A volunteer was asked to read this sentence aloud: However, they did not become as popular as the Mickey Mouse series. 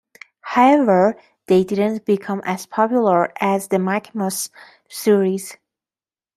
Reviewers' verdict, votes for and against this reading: rejected, 1, 2